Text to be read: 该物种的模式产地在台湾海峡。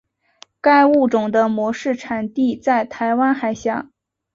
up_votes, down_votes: 2, 0